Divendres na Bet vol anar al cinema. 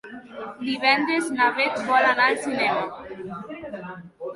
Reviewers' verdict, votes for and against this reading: rejected, 2, 3